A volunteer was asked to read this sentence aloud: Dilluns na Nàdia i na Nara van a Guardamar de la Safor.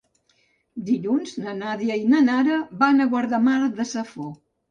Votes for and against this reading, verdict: 0, 2, rejected